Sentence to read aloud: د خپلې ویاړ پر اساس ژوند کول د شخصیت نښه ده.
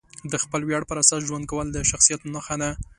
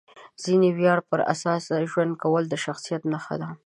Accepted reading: first